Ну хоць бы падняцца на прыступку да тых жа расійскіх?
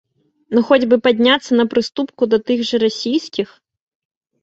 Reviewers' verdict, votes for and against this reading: accepted, 2, 0